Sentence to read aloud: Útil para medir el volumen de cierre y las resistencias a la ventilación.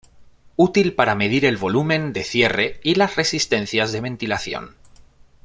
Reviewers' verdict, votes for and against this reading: rejected, 1, 2